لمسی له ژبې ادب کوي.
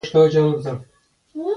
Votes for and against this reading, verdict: 0, 2, rejected